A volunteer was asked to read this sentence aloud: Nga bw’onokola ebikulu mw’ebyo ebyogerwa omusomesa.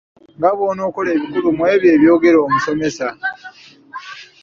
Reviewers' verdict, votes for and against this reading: accepted, 2, 0